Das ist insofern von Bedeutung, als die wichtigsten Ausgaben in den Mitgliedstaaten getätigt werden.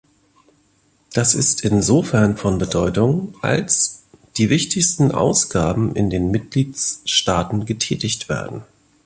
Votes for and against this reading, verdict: 0, 2, rejected